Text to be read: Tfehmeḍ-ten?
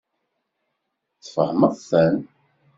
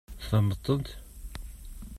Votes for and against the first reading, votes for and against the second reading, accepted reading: 2, 0, 1, 2, first